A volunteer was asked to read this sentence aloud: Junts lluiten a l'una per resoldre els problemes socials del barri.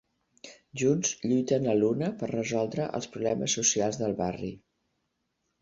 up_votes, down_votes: 4, 0